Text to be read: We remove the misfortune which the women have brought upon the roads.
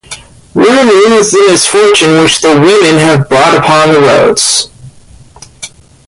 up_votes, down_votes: 0, 2